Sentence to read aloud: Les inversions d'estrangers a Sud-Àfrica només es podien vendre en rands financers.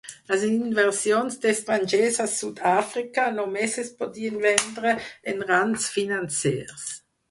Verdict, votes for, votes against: rejected, 2, 2